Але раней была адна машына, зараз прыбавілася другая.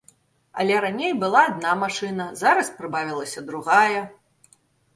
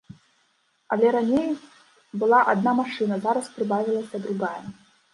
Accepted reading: first